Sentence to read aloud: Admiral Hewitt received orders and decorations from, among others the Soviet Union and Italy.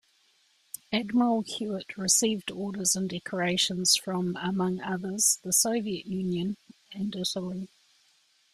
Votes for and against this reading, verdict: 1, 2, rejected